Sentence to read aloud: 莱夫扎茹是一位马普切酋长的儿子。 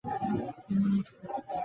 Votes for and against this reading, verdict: 0, 2, rejected